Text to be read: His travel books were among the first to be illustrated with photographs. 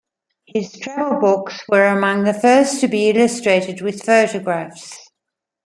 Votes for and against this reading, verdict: 2, 1, accepted